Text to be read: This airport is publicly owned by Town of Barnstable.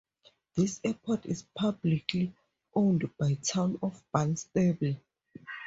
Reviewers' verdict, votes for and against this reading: accepted, 2, 0